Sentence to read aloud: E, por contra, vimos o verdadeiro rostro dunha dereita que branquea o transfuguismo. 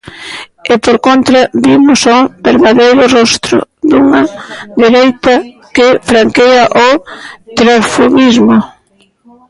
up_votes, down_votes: 0, 2